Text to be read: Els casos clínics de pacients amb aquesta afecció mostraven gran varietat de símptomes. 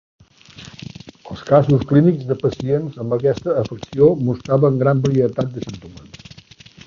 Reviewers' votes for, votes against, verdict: 1, 2, rejected